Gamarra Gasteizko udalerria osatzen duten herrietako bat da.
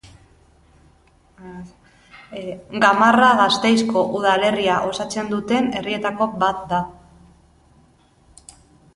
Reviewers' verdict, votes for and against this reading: rejected, 0, 2